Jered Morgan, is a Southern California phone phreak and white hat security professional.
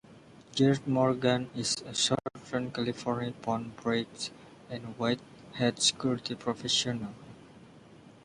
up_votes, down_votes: 2, 1